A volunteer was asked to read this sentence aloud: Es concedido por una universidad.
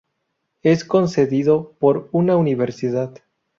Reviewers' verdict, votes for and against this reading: accepted, 2, 0